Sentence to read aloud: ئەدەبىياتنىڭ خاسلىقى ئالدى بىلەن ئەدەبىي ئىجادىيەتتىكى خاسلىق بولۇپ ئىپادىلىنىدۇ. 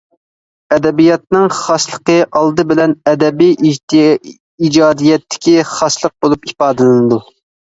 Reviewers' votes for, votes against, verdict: 0, 2, rejected